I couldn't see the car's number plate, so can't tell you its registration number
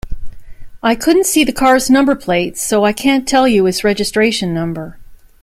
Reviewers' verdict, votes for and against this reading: rejected, 0, 2